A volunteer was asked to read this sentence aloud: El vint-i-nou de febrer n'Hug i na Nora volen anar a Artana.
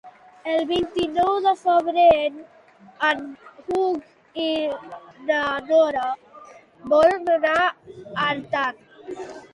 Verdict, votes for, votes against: rejected, 1, 2